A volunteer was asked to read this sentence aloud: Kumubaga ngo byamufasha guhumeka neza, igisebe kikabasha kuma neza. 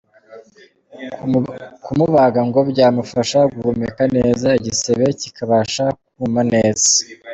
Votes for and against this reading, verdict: 2, 0, accepted